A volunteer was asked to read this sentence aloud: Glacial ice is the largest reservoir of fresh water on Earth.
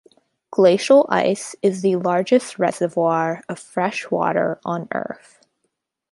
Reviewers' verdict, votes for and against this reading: accepted, 3, 0